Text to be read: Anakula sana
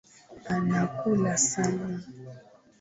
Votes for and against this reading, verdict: 2, 0, accepted